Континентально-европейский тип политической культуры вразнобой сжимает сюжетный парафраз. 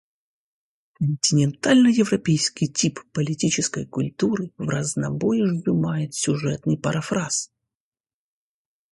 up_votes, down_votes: 2, 0